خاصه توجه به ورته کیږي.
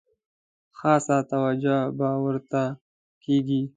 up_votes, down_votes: 2, 0